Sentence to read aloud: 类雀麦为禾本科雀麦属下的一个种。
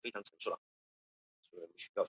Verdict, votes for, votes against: rejected, 0, 2